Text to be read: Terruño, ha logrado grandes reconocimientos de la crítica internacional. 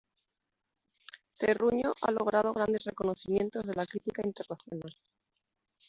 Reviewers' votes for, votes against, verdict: 2, 0, accepted